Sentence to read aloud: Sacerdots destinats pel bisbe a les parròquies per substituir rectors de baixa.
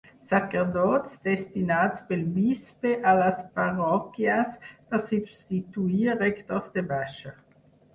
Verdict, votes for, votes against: rejected, 2, 4